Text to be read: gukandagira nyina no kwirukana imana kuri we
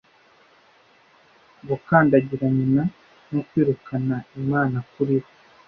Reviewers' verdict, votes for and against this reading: accepted, 2, 0